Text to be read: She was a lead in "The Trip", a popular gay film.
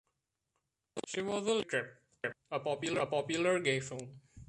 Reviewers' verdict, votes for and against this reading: rejected, 0, 2